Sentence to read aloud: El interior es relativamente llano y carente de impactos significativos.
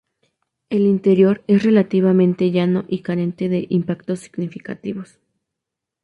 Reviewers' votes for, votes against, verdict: 2, 0, accepted